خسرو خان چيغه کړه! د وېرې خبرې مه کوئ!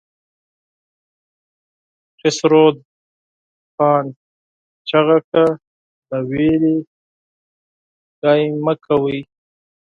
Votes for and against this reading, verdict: 0, 4, rejected